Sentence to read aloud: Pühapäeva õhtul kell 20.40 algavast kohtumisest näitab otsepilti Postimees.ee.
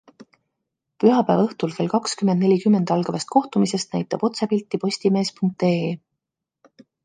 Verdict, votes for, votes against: rejected, 0, 2